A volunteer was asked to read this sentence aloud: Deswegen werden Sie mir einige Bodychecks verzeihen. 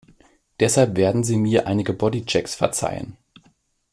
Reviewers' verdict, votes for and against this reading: rejected, 0, 2